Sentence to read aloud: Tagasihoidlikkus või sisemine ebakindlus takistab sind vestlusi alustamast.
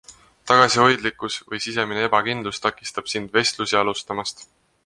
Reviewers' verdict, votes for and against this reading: accepted, 4, 0